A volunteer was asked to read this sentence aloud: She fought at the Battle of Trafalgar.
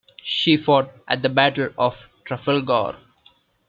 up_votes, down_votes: 2, 0